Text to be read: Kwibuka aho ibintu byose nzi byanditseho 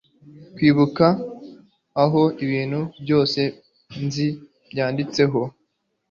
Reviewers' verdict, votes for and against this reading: accepted, 2, 0